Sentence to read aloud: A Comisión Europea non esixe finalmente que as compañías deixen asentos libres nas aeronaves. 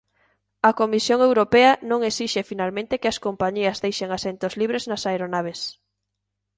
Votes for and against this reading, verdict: 2, 0, accepted